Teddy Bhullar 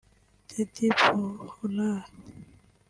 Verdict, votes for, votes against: rejected, 0, 2